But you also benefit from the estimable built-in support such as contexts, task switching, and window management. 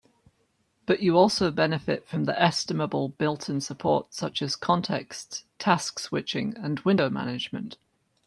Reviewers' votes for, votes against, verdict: 3, 0, accepted